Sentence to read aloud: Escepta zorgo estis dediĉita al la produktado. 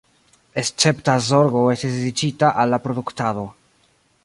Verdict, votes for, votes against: rejected, 1, 2